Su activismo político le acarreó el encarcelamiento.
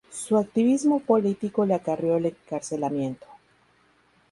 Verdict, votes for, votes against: rejected, 0, 2